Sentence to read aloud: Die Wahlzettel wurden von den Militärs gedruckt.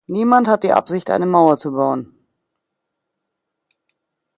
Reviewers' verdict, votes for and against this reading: rejected, 0, 2